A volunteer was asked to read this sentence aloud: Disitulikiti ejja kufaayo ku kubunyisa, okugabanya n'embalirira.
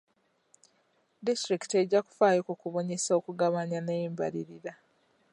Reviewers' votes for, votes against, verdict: 2, 0, accepted